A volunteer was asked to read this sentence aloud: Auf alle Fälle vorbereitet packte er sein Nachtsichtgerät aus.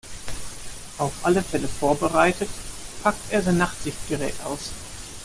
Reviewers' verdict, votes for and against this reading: rejected, 0, 2